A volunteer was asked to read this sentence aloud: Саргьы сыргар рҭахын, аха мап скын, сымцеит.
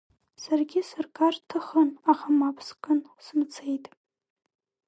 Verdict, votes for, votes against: accepted, 4, 1